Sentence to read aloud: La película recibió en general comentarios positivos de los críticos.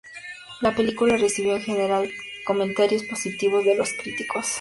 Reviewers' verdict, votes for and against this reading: accepted, 2, 0